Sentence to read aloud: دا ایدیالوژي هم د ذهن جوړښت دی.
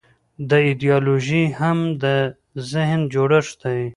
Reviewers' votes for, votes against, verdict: 2, 0, accepted